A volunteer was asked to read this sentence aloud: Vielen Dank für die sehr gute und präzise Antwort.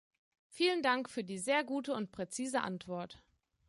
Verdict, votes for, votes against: accepted, 2, 0